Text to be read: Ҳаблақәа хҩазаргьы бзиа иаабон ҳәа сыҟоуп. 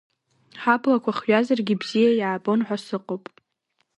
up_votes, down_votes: 2, 0